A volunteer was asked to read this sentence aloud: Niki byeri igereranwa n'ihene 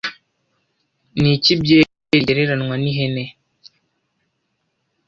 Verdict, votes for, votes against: accepted, 2, 1